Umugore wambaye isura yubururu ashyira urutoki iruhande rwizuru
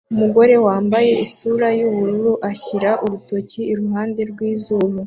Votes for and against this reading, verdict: 3, 0, accepted